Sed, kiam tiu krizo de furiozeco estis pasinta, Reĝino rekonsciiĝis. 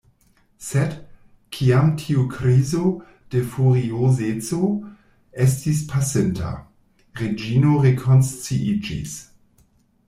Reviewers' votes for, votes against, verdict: 1, 2, rejected